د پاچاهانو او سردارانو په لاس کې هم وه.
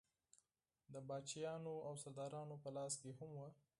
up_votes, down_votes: 4, 0